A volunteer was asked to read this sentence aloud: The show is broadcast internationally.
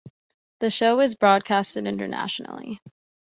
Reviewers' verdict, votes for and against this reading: accepted, 2, 1